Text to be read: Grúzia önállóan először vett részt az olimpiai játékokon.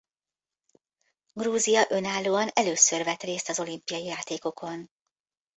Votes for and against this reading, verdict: 2, 0, accepted